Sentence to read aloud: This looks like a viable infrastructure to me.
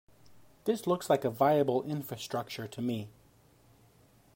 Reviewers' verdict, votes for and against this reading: accepted, 2, 0